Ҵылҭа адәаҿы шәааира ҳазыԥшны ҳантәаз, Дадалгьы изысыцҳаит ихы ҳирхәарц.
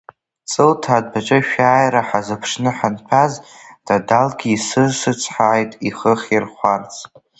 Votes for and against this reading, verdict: 0, 2, rejected